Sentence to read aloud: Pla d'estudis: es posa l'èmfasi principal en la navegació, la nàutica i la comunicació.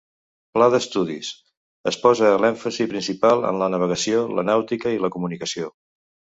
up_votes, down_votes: 2, 0